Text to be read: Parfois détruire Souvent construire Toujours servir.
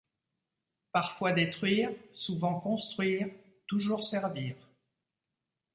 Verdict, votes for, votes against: accepted, 2, 0